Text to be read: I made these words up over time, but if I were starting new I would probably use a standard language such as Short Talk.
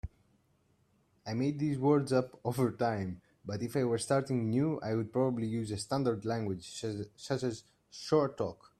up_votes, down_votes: 0, 2